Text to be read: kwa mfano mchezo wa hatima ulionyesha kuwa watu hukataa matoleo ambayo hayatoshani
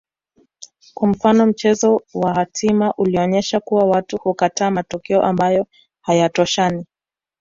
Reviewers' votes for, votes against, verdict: 2, 0, accepted